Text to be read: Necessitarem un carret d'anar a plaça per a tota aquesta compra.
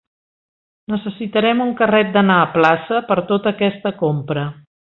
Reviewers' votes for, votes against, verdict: 1, 2, rejected